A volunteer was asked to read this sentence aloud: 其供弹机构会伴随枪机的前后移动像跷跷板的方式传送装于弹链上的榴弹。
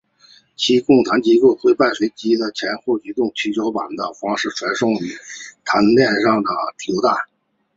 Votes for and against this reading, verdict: 1, 2, rejected